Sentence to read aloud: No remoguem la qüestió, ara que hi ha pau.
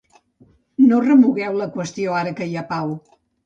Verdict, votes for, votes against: rejected, 1, 2